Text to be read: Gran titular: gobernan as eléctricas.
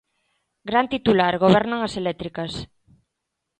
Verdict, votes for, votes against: accepted, 2, 0